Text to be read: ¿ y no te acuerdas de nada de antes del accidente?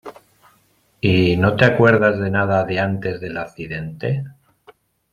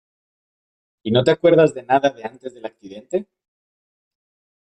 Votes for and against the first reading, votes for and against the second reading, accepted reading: 2, 1, 1, 2, first